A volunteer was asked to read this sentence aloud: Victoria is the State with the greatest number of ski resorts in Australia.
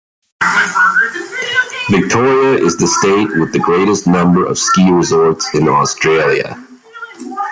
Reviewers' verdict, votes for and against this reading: rejected, 1, 2